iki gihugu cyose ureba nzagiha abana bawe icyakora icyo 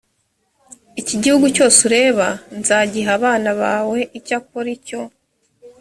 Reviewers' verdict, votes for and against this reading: accepted, 5, 0